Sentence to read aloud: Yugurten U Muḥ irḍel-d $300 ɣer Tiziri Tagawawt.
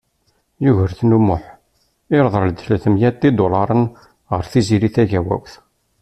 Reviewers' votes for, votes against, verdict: 0, 2, rejected